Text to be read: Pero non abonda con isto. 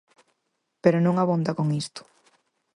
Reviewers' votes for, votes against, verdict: 4, 0, accepted